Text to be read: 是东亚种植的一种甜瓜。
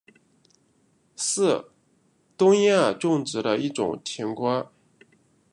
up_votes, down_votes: 2, 0